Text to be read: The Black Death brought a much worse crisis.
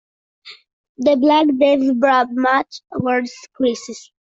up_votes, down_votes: 1, 2